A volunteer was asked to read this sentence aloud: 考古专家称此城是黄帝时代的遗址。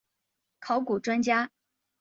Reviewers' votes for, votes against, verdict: 1, 4, rejected